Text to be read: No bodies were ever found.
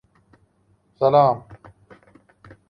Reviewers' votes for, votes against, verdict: 0, 2, rejected